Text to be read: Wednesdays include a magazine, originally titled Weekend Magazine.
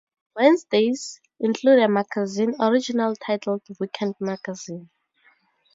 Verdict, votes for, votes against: accepted, 2, 0